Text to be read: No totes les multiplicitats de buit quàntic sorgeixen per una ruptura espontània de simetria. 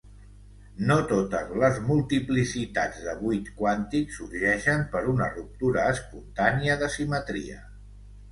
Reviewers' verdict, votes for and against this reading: accepted, 2, 0